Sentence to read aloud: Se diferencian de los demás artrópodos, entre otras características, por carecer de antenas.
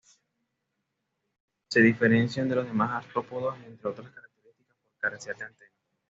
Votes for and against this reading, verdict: 1, 2, rejected